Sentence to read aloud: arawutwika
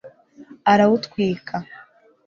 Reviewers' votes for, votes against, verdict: 2, 0, accepted